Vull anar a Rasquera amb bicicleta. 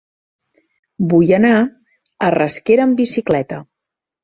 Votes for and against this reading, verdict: 2, 0, accepted